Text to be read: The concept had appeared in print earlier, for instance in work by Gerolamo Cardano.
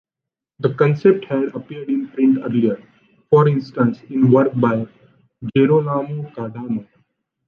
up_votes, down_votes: 1, 2